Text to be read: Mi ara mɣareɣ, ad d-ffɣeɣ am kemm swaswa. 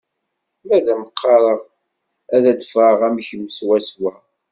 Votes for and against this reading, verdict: 1, 2, rejected